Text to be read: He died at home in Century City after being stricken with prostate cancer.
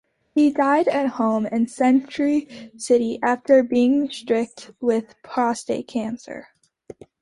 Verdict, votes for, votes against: rejected, 1, 2